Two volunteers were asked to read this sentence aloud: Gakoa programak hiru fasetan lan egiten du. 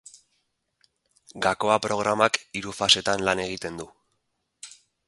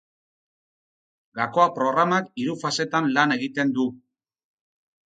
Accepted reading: second